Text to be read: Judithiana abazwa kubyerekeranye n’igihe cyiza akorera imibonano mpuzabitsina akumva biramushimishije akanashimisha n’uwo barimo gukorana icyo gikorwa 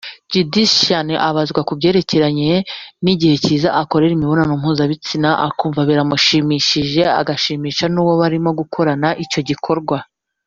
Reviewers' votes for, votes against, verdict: 1, 2, rejected